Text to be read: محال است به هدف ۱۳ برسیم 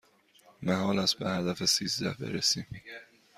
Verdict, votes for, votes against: rejected, 0, 2